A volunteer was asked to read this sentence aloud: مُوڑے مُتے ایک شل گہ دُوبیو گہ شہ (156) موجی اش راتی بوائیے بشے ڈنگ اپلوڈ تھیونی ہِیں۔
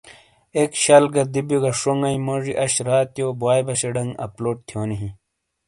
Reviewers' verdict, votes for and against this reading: rejected, 0, 2